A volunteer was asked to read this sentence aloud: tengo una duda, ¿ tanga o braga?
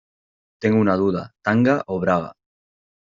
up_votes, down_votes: 2, 0